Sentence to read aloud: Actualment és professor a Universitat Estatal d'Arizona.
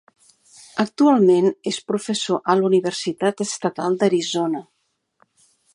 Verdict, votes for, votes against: rejected, 1, 2